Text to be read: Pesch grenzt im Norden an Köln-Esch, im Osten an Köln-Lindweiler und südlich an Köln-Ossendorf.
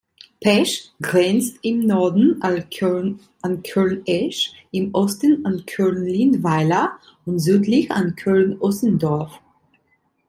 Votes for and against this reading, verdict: 1, 2, rejected